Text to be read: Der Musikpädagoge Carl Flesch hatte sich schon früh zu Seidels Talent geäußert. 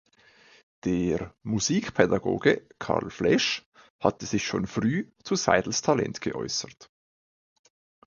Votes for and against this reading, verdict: 2, 0, accepted